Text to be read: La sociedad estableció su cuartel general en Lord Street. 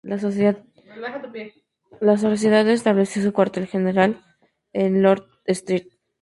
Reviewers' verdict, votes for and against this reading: rejected, 0, 2